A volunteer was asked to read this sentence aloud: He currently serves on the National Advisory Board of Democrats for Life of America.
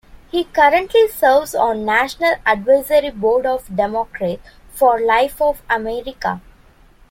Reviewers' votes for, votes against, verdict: 0, 2, rejected